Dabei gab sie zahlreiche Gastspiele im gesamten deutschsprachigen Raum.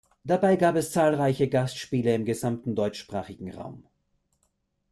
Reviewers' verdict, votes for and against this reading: rejected, 1, 2